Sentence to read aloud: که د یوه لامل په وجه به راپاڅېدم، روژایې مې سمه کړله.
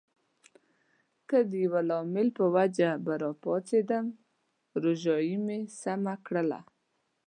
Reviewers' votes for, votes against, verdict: 2, 0, accepted